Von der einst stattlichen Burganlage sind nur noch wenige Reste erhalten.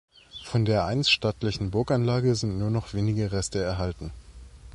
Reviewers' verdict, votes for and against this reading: accepted, 2, 0